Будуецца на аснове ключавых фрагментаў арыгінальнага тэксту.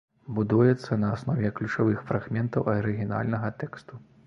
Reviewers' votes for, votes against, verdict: 0, 2, rejected